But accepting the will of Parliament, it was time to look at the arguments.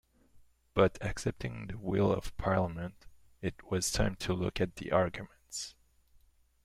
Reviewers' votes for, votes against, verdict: 2, 0, accepted